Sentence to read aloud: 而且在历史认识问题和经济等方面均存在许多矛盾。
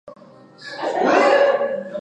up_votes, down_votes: 1, 6